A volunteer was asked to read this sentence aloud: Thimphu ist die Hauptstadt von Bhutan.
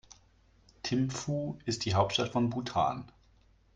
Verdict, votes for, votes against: accepted, 2, 0